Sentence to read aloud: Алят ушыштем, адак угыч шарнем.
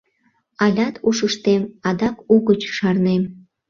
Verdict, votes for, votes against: accepted, 2, 0